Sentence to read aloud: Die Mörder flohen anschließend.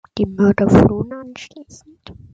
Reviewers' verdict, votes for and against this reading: accepted, 2, 0